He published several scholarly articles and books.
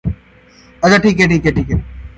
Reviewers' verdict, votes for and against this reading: rejected, 0, 2